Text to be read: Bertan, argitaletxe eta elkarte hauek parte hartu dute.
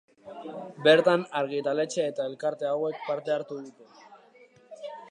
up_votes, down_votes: 2, 1